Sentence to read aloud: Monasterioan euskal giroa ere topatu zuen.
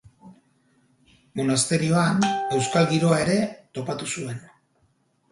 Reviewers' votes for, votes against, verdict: 2, 4, rejected